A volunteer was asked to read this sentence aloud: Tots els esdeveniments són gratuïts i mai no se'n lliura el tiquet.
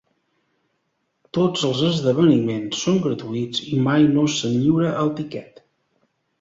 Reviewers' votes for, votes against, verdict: 2, 0, accepted